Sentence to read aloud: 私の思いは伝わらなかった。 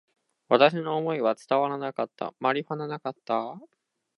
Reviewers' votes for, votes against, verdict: 0, 2, rejected